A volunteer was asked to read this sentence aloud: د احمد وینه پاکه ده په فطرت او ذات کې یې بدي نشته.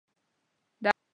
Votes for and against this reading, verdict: 0, 3, rejected